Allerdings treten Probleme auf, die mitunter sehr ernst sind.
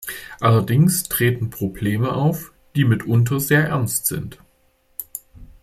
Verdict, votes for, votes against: accepted, 2, 0